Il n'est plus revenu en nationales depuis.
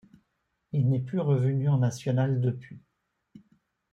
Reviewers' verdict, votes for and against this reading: accepted, 2, 0